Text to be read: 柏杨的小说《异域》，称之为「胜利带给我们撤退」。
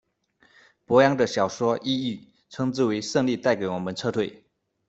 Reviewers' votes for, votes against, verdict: 2, 0, accepted